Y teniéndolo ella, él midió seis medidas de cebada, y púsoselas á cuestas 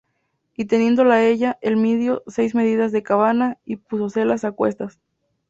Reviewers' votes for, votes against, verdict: 0, 2, rejected